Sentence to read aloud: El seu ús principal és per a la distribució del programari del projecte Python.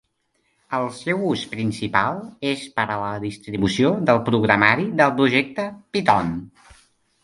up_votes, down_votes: 1, 2